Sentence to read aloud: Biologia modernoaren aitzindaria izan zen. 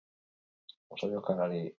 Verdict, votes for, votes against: rejected, 0, 6